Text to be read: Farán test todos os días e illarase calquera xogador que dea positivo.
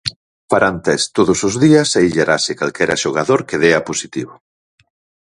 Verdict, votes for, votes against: accepted, 4, 0